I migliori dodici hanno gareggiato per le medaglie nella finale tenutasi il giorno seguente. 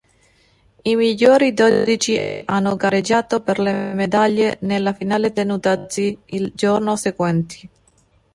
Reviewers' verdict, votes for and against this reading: rejected, 1, 2